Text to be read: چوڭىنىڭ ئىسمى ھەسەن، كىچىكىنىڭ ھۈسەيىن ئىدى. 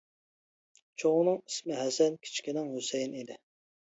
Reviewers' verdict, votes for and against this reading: accepted, 2, 0